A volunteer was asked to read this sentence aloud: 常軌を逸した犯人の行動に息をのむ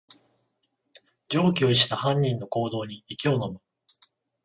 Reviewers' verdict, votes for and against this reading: accepted, 14, 0